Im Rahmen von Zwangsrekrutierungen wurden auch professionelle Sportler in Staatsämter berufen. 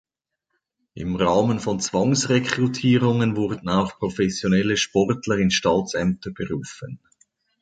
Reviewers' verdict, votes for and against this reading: accepted, 3, 0